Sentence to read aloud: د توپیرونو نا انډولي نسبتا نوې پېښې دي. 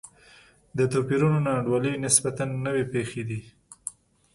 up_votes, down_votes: 2, 0